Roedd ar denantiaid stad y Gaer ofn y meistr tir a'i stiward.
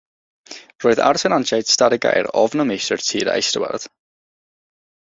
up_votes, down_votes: 6, 0